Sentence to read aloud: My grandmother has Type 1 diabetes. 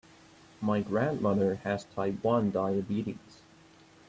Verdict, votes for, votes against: rejected, 0, 2